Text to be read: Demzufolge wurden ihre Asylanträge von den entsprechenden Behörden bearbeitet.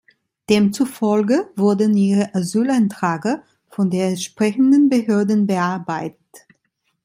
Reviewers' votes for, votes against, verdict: 0, 2, rejected